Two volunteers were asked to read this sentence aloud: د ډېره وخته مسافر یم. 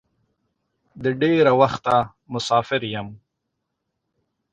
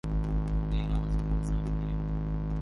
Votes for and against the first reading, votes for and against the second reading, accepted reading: 2, 0, 0, 2, first